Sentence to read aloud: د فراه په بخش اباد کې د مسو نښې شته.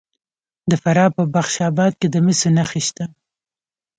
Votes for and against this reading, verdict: 2, 0, accepted